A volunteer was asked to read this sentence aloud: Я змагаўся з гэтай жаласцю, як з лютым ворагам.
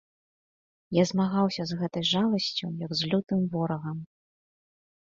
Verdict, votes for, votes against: accepted, 2, 0